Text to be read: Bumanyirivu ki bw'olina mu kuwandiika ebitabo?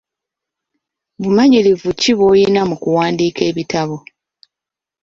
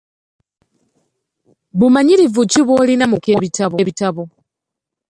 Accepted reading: first